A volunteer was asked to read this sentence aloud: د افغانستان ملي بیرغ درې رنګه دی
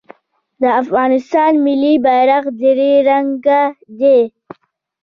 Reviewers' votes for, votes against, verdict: 1, 2, rejected